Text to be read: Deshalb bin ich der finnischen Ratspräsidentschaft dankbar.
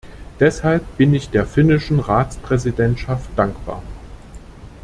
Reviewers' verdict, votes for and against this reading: accepted, 2, 0